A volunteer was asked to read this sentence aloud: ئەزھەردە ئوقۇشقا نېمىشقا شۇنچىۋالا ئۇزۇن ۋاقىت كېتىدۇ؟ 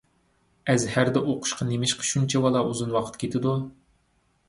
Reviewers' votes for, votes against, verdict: 2, 0, accepted